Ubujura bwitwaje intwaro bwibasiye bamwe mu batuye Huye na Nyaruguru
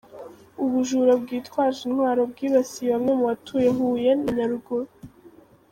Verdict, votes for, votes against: rejected, 1, 2